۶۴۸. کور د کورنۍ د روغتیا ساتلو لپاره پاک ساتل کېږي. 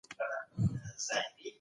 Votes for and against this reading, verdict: 0, 2, rejected